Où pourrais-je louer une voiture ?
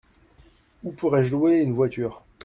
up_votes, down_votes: 2, 0